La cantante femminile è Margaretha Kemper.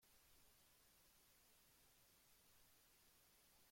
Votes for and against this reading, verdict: 0, 4, rejected